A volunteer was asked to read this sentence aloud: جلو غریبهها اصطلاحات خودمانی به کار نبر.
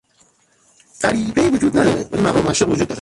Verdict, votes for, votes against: rejected, 0, 2